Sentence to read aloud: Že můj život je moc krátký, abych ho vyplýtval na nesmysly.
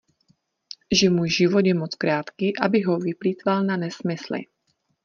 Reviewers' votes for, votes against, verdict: 2, 0, accepted